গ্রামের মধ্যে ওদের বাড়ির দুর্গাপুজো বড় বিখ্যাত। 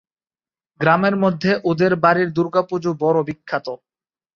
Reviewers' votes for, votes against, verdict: 3, 0, accepted